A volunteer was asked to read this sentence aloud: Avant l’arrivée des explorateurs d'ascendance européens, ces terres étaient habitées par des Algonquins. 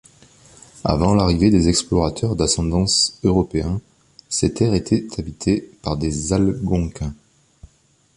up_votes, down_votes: 0, 2